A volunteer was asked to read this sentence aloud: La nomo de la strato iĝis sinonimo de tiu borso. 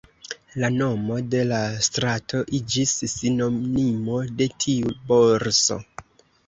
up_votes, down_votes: 1, 2